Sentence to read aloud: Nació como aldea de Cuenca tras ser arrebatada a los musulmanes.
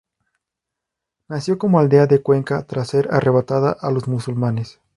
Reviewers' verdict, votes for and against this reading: rejected, 2, 2